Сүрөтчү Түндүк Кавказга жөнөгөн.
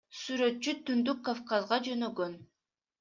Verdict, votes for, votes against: accepted, 2, 0